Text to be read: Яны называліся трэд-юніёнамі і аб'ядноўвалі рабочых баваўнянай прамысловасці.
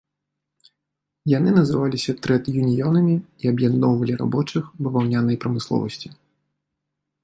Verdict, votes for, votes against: accepted, 3, 0